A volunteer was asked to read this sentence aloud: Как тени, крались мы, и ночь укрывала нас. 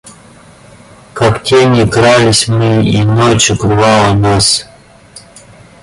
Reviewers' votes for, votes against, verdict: 0, 2, rejected